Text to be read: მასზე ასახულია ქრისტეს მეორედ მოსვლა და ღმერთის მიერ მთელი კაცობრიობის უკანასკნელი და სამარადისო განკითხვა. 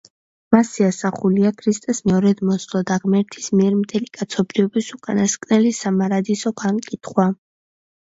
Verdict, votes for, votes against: rejected, 0, 2